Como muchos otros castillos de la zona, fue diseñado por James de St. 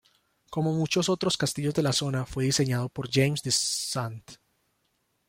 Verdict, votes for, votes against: rejected, 1, 2